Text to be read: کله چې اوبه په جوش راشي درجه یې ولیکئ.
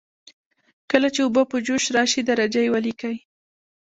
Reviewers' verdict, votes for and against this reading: accepted, 2, 0